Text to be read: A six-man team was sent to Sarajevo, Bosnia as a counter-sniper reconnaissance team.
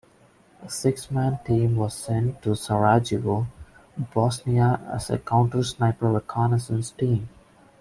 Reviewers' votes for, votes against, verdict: 1, 2, rejected